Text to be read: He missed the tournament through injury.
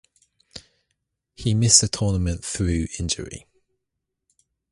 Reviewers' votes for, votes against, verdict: 0, 2, rejected